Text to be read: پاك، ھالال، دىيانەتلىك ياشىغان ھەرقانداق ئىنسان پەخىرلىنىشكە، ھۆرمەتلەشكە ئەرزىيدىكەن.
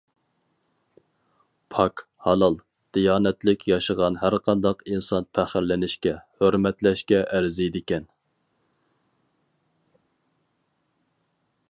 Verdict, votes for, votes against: accepted, 4, 0